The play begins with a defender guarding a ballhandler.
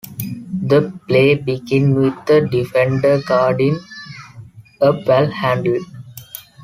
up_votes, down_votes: 2, 1